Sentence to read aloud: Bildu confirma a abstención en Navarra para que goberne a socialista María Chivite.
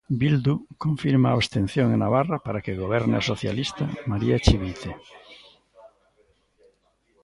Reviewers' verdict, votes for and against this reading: rejected, 0, 2